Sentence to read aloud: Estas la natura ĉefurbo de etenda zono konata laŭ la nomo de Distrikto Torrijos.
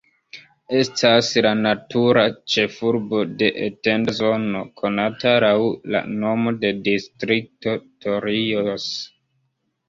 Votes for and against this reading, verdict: 1, 2, rejected